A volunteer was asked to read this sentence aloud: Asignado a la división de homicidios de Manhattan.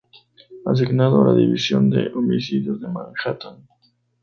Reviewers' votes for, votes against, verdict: 2, 0, accepted